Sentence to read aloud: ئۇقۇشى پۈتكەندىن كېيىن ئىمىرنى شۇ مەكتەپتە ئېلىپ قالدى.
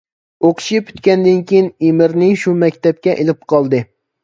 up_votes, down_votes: 0, 2